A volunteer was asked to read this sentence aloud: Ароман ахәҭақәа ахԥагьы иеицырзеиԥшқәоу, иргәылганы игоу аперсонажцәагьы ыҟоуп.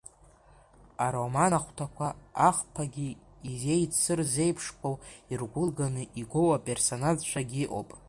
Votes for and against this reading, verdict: 1, 2, rejected